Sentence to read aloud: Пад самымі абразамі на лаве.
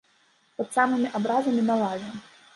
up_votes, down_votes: 0, 2